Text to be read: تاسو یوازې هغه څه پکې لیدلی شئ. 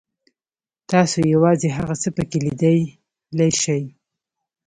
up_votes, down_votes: 1, 2